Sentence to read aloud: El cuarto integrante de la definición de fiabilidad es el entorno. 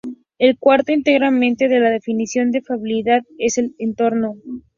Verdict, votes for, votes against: rejected, 0, 2